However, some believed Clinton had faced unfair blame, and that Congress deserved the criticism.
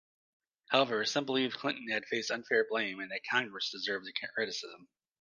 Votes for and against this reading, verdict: 2, 0, accepted